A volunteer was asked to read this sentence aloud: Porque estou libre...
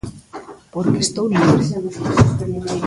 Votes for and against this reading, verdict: 1, 2, rejected